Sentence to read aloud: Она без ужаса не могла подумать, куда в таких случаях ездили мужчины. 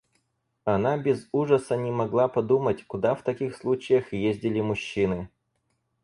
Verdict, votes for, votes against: accepted, 4, 2